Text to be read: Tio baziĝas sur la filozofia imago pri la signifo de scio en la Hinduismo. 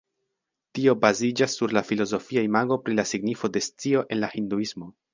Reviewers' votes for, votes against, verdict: 2, 0, accepted